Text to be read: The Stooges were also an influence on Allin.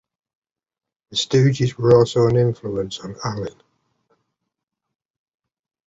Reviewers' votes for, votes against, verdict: 2, 0, accepted